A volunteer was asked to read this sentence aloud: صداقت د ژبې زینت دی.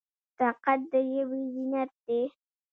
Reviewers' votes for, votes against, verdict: 2, 0, accepted